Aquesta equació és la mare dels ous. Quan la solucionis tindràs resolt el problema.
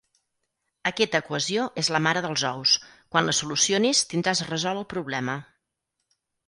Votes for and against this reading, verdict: 0, 4, rejected